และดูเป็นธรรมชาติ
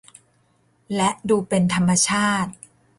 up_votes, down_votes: 3, 0